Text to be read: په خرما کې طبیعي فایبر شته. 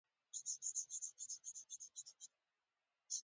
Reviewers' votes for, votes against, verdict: 1, 2, rejected